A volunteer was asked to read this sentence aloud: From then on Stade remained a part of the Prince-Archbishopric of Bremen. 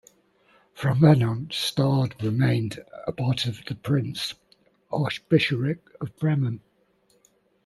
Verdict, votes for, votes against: accepted, 2, 0